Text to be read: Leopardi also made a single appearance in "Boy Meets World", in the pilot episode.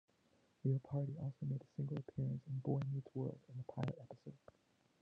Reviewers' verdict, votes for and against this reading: rejected, 0, 2